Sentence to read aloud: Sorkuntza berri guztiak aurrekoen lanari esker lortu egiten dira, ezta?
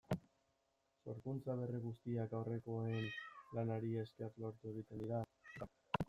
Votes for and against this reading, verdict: 0, 2, rejected